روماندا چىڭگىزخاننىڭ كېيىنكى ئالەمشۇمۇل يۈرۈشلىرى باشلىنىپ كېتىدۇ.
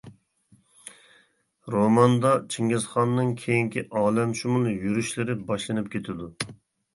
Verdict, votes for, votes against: accepted, 2, 0